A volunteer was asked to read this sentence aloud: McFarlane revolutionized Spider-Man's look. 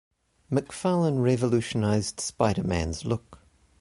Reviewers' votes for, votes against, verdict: 2, 0, accepted